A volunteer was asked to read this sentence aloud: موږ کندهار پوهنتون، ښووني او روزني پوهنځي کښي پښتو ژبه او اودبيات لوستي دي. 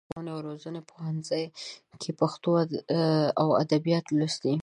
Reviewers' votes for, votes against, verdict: 0, 2, rejected